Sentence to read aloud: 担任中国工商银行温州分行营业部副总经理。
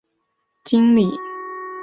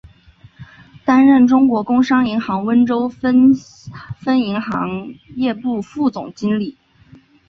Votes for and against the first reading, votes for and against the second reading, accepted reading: 0, 3, 2, 1, second